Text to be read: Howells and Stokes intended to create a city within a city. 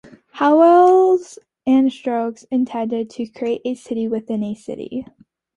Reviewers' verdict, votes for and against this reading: rejected, 1, 2